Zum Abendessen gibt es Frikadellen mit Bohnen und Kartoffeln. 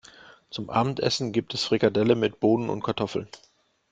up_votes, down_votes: 0, 2